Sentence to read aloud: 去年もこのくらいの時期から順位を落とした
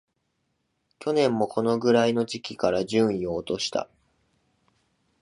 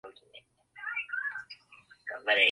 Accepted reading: first